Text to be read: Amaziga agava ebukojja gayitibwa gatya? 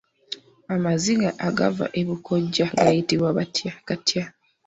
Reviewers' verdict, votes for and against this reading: rejected, 1, 2